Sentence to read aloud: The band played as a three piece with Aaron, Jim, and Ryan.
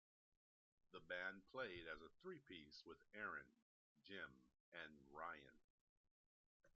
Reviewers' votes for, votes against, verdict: 2, 1, accepted